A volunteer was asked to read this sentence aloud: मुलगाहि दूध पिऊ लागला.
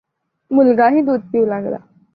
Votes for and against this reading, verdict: 2, 0, accepted